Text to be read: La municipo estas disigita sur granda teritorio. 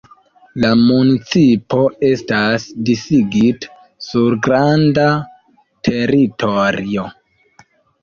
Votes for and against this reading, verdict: 1, 2, rejected